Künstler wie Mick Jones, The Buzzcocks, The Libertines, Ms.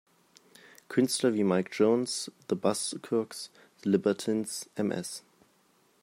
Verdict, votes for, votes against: rejected, 0, 2